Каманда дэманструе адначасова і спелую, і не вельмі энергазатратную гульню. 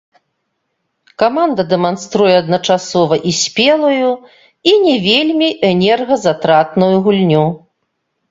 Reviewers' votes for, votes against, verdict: 1, 2, rejected